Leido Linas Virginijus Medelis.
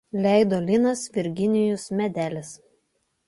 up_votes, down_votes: 2, 0